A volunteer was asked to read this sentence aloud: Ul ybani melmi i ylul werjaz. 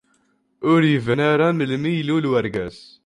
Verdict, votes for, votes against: rejected, 0, 2